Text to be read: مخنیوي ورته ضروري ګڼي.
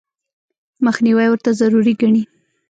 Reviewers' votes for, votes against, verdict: 1, 2, rejected